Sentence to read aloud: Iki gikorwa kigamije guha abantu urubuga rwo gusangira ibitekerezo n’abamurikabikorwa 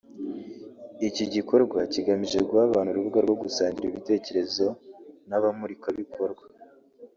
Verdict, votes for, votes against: accepted, 2, 0